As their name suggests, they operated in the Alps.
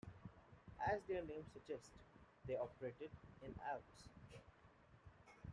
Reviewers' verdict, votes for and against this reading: accepted, 2, 1